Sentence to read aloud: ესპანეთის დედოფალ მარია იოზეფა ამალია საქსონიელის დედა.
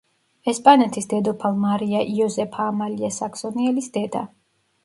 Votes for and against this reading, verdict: 2, 0, accepted